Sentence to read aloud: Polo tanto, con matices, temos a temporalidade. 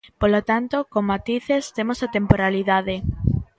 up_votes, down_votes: 1, 2